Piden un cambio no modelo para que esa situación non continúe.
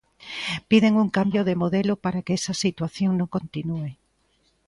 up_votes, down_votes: 2, 1